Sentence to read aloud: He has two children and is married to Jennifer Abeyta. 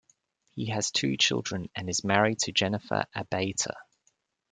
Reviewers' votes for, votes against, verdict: 2, 1, accepted